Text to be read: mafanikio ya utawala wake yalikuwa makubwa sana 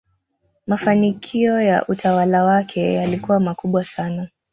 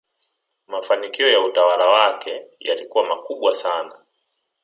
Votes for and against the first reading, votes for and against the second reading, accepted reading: 1, 2, 2, 1, second